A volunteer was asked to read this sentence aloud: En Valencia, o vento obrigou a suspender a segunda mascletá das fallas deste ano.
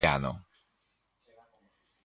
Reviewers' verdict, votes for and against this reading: rejected, 0, 2